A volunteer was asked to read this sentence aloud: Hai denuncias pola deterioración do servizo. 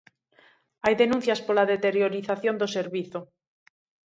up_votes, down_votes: 1, 2